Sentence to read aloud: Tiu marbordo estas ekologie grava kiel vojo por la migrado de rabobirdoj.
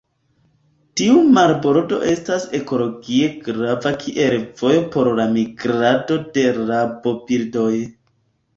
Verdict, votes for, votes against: accepted, 2, 0